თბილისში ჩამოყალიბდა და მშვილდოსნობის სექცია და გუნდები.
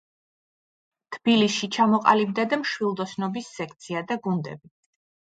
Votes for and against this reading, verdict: 1, 2, rejected